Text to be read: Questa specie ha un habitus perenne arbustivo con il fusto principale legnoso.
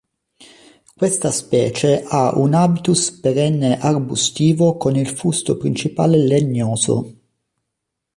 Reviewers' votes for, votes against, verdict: 3, 0, accepted